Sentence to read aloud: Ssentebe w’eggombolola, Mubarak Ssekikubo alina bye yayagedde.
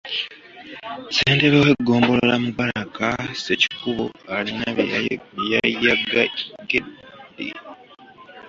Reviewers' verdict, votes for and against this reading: rejected, 0, 2